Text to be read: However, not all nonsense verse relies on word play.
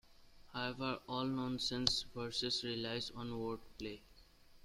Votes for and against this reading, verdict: 0, 2, rejected